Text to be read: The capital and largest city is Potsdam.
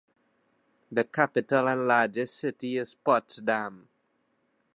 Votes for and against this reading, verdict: 2, 0, accepted